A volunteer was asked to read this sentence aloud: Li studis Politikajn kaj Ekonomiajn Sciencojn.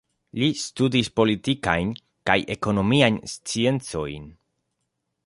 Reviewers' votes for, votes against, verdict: 2, 0, accepted